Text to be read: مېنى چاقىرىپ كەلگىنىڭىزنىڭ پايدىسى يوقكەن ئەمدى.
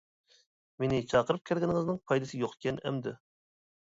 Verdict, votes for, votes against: accepted, 2, 0